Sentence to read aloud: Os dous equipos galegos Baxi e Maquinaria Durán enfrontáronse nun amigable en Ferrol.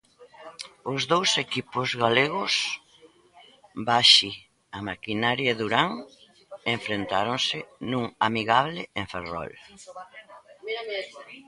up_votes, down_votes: 1, 2